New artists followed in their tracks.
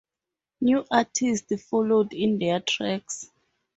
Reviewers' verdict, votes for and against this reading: accepted, 2, 0